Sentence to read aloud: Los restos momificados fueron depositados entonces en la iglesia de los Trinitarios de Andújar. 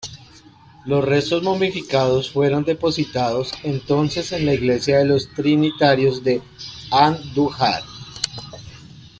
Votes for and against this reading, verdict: 1, 2, rejected